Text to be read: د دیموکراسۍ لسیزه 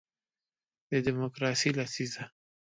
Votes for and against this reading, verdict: 2, 0, accepted